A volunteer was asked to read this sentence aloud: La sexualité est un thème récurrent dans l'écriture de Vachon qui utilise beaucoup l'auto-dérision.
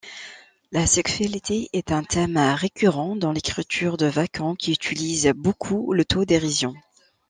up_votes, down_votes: 2, 0